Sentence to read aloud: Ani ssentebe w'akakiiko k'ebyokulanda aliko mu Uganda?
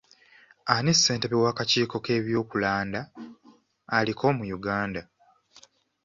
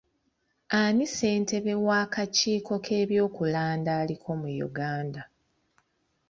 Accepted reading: second